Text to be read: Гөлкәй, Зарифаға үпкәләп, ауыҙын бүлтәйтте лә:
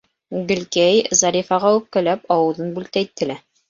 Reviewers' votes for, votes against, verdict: 3, 0, accepted